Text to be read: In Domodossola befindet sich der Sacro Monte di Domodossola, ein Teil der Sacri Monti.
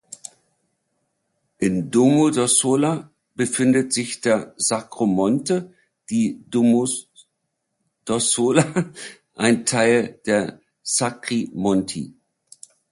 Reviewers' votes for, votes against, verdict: 0, 2, rejected